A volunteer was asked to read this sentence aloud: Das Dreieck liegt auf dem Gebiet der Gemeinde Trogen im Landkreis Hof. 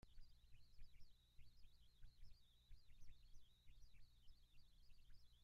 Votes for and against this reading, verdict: 0, 2, rejected